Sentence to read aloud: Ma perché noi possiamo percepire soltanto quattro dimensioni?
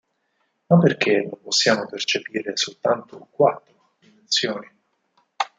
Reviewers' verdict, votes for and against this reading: rejected, 2, 4